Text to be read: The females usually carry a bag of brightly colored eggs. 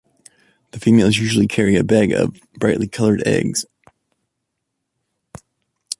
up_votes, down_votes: 2, 0